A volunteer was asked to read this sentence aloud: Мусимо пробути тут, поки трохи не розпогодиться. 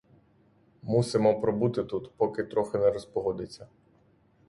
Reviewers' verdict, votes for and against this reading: accepted, 3, 0